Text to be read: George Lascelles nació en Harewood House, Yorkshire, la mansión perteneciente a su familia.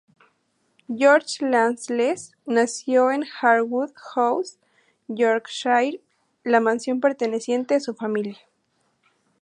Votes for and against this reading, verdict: 0, 2, rejected